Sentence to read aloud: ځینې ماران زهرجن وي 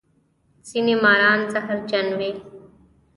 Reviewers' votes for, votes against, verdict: 3, 0, accepted